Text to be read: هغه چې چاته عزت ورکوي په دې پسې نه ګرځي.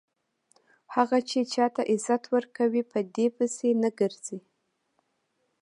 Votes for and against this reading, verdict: 2, 0, accepted